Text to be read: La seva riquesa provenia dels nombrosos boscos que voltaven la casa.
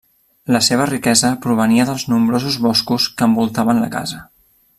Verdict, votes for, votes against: rejected, 1, 2